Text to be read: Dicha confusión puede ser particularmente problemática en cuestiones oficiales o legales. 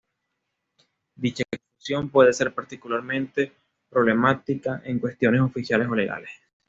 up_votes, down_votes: 2, 0